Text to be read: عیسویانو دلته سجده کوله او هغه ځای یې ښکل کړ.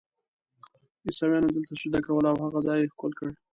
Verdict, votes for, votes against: rejected, 0, 2